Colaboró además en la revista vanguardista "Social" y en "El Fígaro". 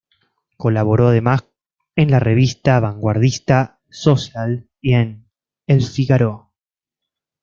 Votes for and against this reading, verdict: 0, 2, rejected